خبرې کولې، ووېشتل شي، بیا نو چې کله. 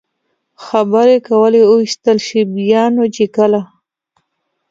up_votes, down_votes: 2, 0